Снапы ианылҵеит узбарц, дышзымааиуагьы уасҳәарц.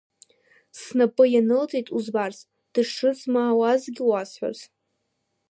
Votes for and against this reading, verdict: 1, 2, rejected